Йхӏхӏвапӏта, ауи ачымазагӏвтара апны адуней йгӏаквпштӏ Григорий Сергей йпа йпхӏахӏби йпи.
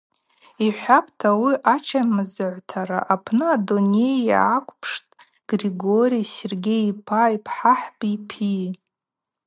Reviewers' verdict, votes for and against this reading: accepted, 4, 0